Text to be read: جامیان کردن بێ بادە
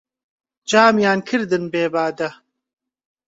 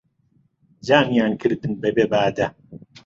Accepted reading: first